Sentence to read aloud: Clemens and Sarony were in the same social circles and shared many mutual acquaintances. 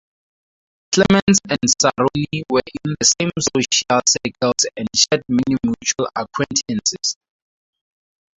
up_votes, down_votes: 0, 2